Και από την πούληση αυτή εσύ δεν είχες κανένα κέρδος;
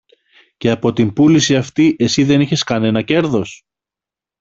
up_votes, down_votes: 2, 0